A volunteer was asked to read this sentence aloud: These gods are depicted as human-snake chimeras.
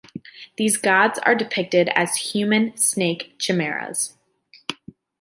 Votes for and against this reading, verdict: 2, 0, accepted